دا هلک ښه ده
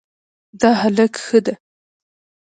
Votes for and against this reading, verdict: 0, 2, rejected